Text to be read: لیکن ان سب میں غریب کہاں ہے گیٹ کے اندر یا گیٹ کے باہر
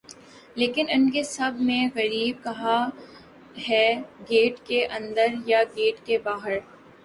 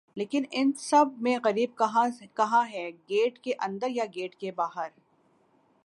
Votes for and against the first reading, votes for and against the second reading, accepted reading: 3, 4, 6, 0, second